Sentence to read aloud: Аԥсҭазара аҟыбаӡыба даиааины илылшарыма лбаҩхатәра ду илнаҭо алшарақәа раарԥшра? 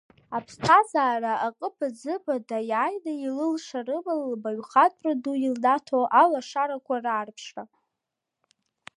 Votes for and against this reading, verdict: 0, 2, rejected